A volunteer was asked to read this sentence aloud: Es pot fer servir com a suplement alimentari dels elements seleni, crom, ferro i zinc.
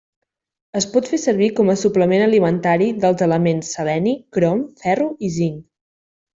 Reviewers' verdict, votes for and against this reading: accepted, 2, 0